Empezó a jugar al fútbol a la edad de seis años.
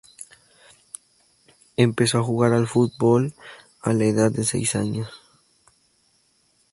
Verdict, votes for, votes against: accepted, 2, 0